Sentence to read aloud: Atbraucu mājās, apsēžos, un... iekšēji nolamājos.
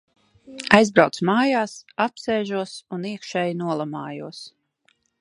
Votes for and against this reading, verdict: 0, 2, rejected